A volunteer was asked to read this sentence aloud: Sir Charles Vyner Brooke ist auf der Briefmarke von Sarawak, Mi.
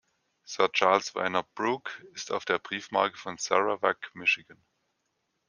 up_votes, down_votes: 2, 1